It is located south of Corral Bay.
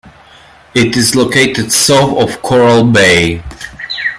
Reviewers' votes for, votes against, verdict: 2, 1, accepted